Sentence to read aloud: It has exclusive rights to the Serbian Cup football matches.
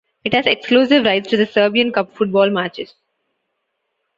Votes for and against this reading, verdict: 2, 0, accepted